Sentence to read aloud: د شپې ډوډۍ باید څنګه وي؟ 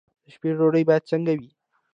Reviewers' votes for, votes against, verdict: 2, 0, accepted